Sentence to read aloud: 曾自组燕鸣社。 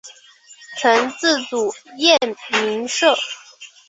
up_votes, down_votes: 7, 1